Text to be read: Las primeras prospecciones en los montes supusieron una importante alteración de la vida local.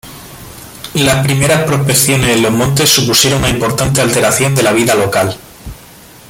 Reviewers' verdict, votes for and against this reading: rejected, 0, 2